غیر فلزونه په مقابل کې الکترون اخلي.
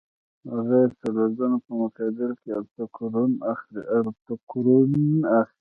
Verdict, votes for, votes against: rejected, 0, 2